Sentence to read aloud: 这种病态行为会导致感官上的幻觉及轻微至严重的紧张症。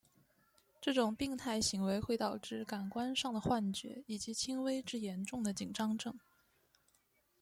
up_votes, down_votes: 0, 2